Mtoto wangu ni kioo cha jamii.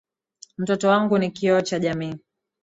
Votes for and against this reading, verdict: 8, 0, accepted